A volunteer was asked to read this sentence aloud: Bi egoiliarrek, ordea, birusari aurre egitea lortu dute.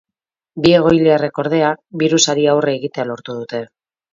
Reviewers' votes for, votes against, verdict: 0, 2, rejected